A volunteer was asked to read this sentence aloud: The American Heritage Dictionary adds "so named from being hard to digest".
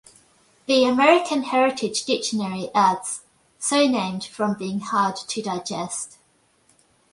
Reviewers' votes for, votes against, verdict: 2, 0, accepted